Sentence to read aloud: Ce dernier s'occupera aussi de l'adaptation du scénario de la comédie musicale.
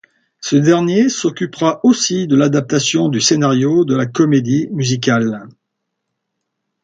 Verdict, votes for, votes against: accepted, 2, 0